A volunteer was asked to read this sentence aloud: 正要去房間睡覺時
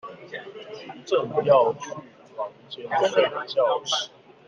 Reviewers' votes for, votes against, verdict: 0, 2, rejected